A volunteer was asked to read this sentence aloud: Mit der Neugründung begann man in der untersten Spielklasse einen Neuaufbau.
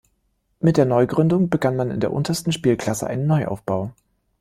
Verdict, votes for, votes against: accepted, 2, 0